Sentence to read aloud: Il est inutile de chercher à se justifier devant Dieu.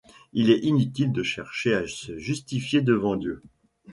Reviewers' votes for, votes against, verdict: 2, 0, accepted